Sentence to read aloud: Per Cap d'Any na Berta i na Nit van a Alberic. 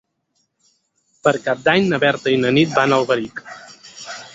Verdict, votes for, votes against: accepted, 4, 0